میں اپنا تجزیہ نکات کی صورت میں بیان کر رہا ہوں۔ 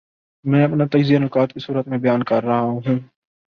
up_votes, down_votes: 7, 1